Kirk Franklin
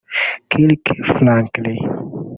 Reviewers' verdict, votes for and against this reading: rejected, 0, 2